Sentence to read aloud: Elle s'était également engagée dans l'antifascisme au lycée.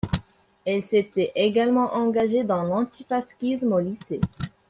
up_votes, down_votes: 0, 2